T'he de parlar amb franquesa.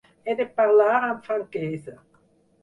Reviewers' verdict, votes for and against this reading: rejected, 2, 4